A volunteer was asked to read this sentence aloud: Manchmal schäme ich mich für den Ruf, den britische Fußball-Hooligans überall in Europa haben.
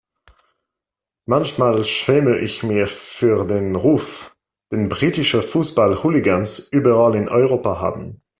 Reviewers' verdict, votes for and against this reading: rejected, 0, 2